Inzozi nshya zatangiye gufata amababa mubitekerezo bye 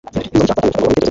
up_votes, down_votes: 1, 2